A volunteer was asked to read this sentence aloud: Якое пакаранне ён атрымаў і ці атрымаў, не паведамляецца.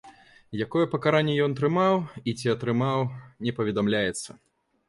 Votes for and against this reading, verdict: 3, 0, accepted